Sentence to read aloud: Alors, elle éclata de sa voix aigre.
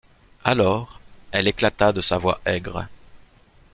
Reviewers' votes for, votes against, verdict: 2, 0, accepted